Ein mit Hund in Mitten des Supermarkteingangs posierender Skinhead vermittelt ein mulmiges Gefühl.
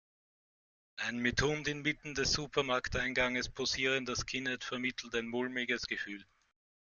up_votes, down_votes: 1, 2